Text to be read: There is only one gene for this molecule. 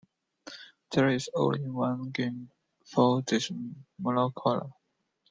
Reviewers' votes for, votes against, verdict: 0, 2, rejected